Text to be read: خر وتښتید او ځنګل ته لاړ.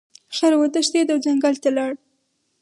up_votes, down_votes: 4, 2